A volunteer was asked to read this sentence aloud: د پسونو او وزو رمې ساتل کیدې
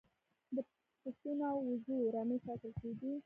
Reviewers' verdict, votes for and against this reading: rejected, 1, 2